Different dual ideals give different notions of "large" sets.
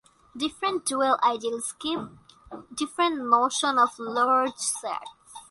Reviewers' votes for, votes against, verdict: 0, 2, rejected